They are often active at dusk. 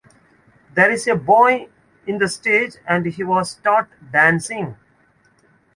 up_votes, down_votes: 0, 2